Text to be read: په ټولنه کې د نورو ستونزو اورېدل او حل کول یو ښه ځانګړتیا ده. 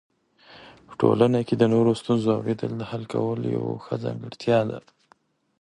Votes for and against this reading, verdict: 1, 2, rejected